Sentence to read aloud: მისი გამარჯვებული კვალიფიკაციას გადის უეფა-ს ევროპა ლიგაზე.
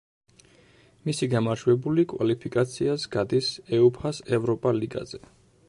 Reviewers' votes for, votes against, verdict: 0, 2, rejected